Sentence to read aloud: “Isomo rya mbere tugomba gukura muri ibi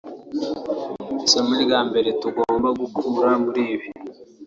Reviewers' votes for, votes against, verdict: 2, 0, accepted